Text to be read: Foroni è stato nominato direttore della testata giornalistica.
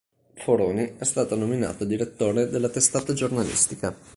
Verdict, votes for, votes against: accepted, 2, 0